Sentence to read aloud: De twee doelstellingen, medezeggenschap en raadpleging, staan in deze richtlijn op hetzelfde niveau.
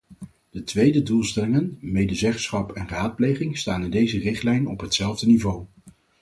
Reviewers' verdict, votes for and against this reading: rejected, 0, 4